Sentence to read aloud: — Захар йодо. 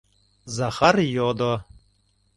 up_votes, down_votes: 2, 0